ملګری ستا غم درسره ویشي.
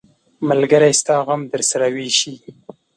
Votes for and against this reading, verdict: 2, 0, accepted